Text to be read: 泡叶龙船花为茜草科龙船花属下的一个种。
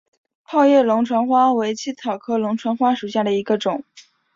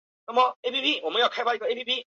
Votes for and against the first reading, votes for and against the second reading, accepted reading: 2, 0, 0, 3, first